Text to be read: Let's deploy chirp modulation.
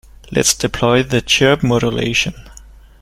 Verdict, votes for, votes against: rejected, 1, 2